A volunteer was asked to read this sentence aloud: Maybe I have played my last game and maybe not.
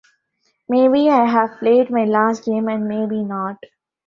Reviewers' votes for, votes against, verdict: 2, 1, accepted